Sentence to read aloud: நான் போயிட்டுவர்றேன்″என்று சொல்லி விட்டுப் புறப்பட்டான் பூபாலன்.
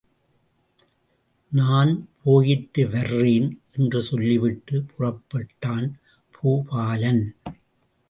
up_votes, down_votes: 2, 0